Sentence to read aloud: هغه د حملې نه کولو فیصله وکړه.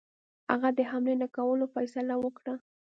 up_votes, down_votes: 2, 0